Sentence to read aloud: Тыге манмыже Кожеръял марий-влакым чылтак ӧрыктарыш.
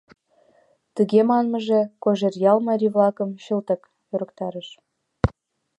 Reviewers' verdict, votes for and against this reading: accepted, 2, 0